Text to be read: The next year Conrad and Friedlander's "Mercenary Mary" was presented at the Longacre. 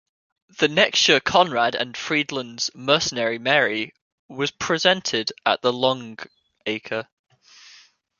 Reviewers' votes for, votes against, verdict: 1, 2, rejected